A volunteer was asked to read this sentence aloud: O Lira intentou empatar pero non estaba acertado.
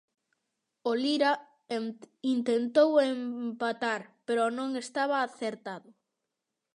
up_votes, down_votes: 0, 2